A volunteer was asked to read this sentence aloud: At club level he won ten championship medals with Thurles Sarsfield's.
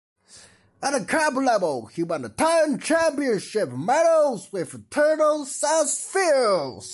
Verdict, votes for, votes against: accepted, 2, 1